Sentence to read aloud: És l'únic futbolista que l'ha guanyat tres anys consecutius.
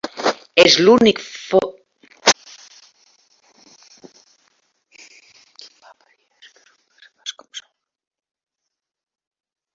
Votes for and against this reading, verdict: 0, 2, rejected